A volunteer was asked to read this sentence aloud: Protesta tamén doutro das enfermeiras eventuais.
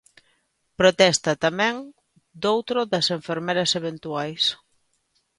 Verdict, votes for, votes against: rejected, 1, 2